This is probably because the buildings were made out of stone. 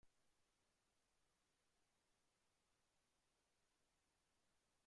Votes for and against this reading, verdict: 0, 2, rejected